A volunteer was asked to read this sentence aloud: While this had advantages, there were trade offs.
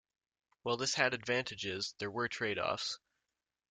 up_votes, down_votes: 2, 0